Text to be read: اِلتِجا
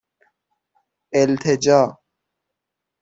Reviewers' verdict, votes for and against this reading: accepted, 6, 0